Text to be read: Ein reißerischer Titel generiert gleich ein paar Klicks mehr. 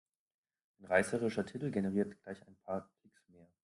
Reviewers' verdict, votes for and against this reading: rejected, 1, 2